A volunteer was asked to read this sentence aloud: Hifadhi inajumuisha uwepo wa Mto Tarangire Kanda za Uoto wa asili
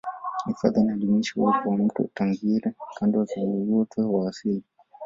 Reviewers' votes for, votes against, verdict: 0, 2, rejected